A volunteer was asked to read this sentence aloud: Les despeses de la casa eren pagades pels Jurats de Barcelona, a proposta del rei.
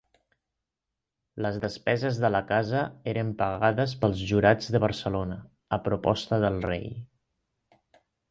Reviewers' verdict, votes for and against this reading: accepted, 2, 0